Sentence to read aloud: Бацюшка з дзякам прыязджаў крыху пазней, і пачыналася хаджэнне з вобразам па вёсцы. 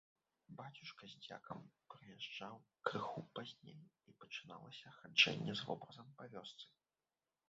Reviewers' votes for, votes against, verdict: 0, 3, rejected